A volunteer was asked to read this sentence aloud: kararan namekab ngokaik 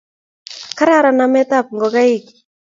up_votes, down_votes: 2, 0